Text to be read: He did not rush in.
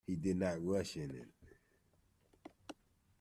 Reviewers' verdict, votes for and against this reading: rejected, 1, 2